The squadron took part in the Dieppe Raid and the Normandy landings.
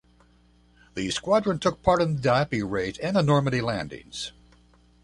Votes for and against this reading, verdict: 2, 0, accepted